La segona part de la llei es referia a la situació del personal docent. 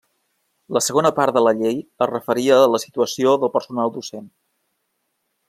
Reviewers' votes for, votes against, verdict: 3, 0, accepted